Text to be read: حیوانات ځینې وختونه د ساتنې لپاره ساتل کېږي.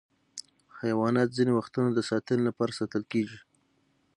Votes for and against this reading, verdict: 6, 0, accepted